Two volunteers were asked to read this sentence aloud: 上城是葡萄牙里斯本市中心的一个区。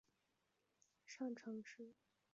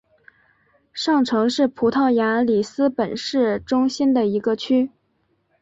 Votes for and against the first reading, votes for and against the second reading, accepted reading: 1, 2, 4, 0, second